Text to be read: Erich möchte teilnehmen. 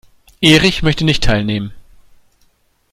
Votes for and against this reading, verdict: 0, 2, rejected